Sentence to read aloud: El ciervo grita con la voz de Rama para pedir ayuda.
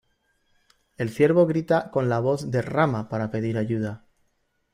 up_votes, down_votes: 2, 1